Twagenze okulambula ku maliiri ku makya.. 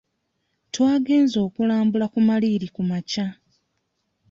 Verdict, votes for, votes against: accepted, 2, 0